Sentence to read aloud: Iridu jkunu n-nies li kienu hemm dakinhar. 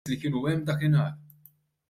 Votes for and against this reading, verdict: 0, 2, rejected